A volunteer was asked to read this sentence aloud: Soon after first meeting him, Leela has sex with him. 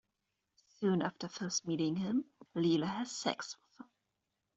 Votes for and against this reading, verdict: 0, 2, rejected